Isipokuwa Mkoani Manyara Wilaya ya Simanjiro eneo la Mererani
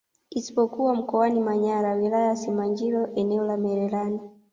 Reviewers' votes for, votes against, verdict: 2, 1, accepted